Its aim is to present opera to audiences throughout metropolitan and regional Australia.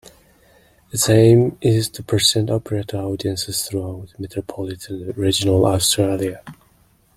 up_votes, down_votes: 2, 0